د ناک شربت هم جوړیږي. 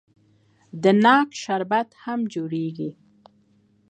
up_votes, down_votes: 2, 1